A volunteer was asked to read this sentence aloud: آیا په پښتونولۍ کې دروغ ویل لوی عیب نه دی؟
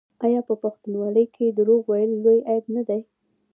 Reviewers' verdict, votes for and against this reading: rejected, 0, 2